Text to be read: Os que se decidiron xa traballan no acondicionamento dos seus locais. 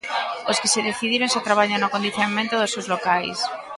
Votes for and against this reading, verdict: 1, 2, rejected